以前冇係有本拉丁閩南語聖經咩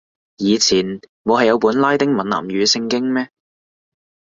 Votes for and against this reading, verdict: 2, 1, accepted